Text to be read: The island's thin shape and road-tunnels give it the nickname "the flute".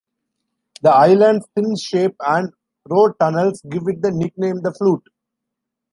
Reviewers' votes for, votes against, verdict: 2, 0, accepted